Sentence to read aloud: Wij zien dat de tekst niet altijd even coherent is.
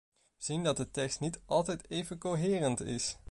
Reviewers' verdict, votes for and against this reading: rejected, 1, 2